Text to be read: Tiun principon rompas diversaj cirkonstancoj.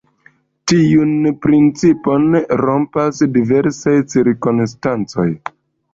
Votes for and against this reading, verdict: 1, 2, rejected